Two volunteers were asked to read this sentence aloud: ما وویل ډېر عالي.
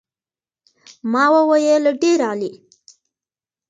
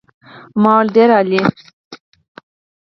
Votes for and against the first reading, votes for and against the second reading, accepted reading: 2, 0, 2, 4, first